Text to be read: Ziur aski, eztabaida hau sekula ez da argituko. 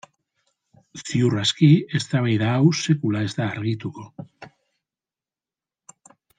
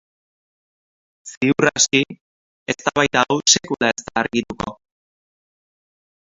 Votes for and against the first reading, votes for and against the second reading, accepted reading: 2, 1, 0, 2, first